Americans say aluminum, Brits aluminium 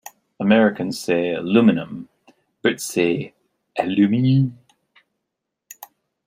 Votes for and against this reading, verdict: 0, 2, rejected